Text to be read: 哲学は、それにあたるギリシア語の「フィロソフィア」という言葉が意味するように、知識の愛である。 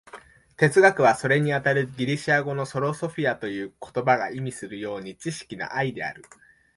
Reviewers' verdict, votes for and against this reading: rejected, 1, 2